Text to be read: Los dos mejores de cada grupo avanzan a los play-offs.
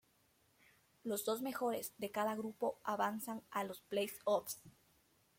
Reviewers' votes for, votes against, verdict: 2, 1, accepted